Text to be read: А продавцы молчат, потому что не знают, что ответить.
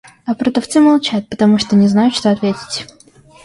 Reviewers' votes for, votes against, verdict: 2, 1, accepted